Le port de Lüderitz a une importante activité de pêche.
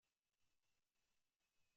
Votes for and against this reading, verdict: 0, 2, rejected